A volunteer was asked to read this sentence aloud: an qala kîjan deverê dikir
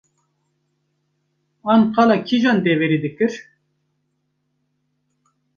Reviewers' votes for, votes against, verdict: 2, 0, accepted